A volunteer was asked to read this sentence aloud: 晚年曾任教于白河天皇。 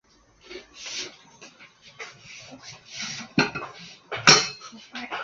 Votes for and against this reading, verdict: 0, 2, rejected